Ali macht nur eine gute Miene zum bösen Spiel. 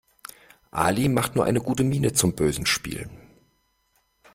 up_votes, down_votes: 2, 0